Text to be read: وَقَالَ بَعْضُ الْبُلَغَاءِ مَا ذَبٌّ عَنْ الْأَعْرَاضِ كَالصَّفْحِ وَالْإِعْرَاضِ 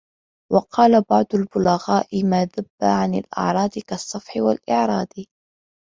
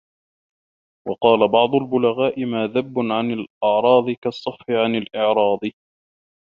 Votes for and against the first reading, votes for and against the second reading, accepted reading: 2, 0, 1, 2, first